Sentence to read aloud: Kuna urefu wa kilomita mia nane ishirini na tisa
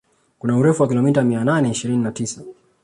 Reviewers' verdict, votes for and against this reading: accepted, 2, 0